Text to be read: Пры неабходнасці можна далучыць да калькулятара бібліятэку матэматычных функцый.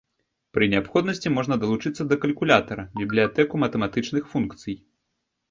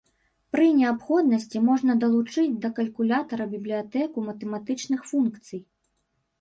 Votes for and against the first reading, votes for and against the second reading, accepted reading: 1, 2, 2, 0, second